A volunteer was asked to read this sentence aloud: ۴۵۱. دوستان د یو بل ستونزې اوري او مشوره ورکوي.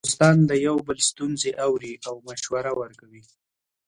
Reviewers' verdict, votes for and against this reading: rejected, 0, 2